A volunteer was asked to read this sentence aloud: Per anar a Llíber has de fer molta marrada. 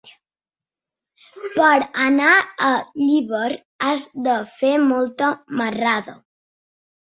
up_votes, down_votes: 3, 1